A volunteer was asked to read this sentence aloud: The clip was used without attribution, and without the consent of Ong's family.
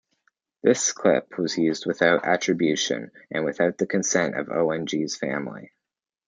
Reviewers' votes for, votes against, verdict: 0, 2, rejected